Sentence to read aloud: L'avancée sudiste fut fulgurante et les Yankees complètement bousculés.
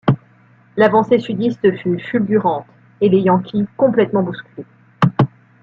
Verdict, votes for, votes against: accepted, 2, 1